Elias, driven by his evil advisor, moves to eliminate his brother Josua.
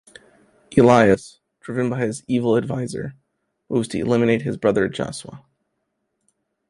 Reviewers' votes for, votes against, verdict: 2, 0, accepted